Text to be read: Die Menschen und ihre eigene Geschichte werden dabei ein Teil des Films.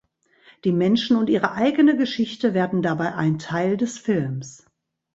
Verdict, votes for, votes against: accepted, 3, 0